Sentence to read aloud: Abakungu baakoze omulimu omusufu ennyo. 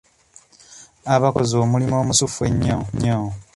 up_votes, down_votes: 0, 2